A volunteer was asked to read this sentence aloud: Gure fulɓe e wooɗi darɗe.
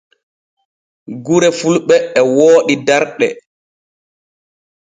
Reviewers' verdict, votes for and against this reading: accepted, 2, 0